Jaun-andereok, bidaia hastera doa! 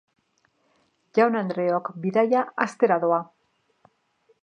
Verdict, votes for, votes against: rejected, 1, 2